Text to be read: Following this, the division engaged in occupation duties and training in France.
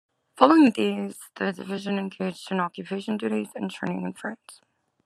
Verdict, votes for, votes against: accepted, 2, 1